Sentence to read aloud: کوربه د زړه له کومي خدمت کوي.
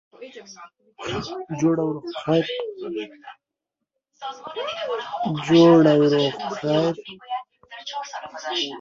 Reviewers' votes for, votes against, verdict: 0, 2, rejected